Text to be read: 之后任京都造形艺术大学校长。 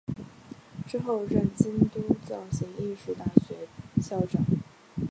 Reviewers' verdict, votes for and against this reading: accepted, 3, 0